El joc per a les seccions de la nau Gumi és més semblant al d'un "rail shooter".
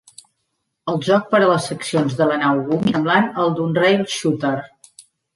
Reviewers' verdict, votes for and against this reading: rejected, 0, 2